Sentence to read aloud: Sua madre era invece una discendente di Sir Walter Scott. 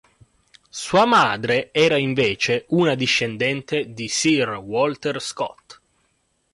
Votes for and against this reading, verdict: 4, 1, accepted